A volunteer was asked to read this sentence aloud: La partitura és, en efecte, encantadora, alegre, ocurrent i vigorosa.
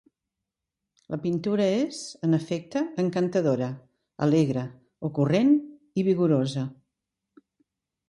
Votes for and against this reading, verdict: 1, 2, rejected